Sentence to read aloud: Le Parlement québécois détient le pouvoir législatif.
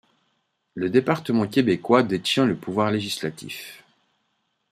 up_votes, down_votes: 0, 2